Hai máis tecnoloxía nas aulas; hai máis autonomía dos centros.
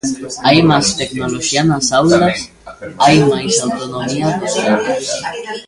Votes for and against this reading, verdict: 0, 2, rejected